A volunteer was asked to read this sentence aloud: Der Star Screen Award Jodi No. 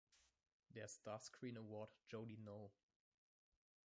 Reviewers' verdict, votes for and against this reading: rejected, 1, 2